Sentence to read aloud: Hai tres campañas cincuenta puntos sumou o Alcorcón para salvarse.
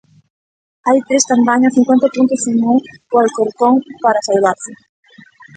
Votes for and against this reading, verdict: 1, 2, rejected